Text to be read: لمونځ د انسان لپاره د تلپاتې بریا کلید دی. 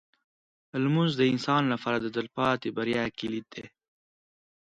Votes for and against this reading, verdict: 3, 0, accepted